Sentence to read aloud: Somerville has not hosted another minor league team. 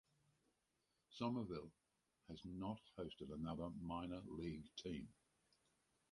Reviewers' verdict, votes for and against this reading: rejected, 2, 2